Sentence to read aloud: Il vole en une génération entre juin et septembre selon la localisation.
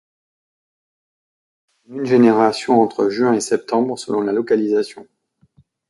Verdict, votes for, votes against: rejected, 0, 2